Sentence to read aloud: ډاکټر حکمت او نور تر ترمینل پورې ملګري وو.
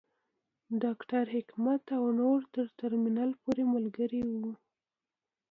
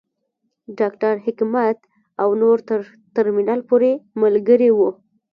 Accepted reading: first